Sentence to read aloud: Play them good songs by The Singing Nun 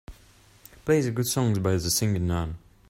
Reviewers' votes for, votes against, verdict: 0, 2, rejected